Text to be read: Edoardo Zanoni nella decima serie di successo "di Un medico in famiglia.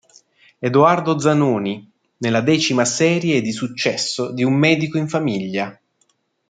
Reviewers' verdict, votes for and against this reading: accepted, 2, 0